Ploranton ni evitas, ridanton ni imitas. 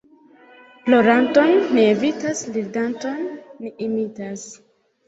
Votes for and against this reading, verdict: 2, 0, accepted